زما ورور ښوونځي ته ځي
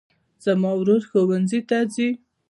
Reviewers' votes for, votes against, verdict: 1, 2, rejected